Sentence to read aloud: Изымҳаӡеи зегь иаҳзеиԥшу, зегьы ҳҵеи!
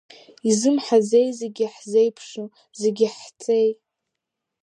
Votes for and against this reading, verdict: 4, 1, accepted